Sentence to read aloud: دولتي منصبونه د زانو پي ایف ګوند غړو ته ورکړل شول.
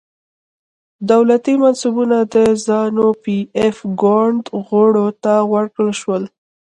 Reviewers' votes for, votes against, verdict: 1, 2, rejected